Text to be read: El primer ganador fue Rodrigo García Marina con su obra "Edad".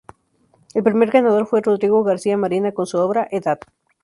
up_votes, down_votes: 0, 2